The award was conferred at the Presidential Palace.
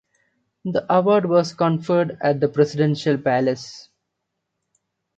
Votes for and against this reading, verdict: 0, 2, rejected